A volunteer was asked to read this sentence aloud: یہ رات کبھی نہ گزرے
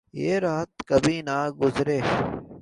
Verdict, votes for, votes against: accepted, 2, 0